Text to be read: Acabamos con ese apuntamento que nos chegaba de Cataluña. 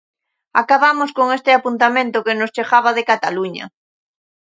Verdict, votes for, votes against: rejected, 0, 2